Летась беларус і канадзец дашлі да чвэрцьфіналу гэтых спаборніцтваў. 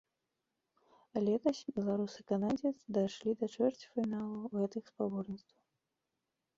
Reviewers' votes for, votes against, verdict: 2, 1, accepted